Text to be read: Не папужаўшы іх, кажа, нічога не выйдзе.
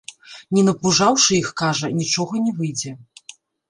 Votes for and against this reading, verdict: 0, 2, rejected